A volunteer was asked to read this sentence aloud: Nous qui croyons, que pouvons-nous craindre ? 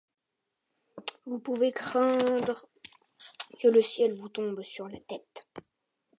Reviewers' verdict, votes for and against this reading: rejected, 0, 2